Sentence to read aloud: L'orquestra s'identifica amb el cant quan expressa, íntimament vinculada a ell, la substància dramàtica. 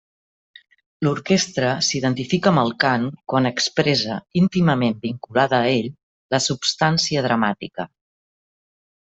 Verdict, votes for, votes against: accepted, 3, 0